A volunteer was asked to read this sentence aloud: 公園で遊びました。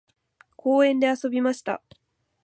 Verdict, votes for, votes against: accepted, 2, 0